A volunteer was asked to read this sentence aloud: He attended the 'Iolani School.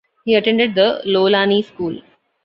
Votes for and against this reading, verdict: 1, 2, rejected